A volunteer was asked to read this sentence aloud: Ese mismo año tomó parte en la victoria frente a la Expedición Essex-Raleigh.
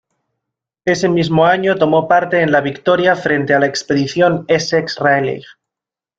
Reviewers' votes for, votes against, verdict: 1, 2, rejected